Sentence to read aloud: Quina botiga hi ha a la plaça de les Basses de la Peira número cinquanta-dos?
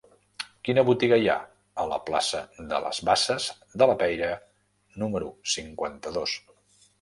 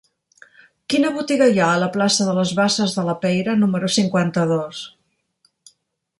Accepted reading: second